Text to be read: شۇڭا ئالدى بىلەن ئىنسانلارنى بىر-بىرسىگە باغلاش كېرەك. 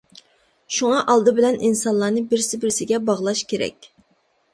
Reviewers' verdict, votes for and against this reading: rejected, 1, 2